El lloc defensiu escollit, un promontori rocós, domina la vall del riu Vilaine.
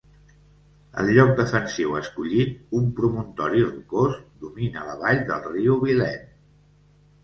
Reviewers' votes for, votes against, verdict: 2, 0, accepted